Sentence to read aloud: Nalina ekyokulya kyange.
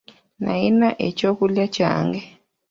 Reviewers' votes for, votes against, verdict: 1, 2, rejected